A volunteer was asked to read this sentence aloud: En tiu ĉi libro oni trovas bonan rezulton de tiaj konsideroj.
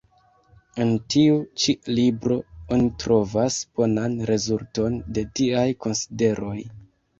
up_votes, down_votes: 2, 1